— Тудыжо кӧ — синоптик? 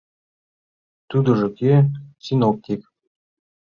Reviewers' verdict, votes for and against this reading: accepted, 2, 0